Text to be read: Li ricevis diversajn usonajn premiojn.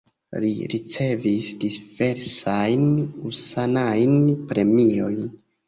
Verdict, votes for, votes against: rejected, 1, 2